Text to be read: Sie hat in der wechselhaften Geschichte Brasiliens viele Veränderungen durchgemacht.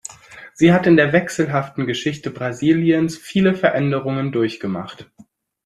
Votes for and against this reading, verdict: 2, 0, accepted